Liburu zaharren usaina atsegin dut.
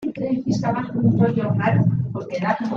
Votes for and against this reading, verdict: 0, 2, rejected